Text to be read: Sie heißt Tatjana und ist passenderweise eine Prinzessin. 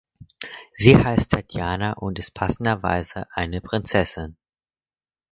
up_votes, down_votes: 4, 0